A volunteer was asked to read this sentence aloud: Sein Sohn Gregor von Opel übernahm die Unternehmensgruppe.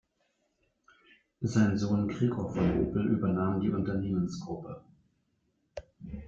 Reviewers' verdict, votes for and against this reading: rejected, 1, 2